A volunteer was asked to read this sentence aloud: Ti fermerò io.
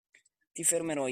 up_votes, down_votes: 0, 2